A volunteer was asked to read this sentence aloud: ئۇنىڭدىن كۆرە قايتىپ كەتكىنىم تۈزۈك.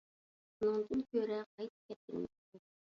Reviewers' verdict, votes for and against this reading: rejected, 0, 2